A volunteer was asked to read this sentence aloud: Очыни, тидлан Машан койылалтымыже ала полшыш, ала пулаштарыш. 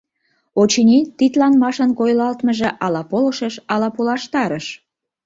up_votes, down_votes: 1, 2